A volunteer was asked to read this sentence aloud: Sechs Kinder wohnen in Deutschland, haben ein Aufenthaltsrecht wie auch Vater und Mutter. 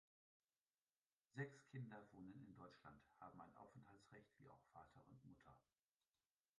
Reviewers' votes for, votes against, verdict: 1, 2, rejected